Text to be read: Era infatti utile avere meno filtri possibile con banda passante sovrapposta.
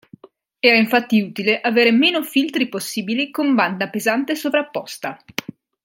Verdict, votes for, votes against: rejected, 1, 3